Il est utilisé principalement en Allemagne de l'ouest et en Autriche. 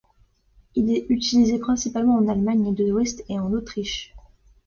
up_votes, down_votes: 2, 0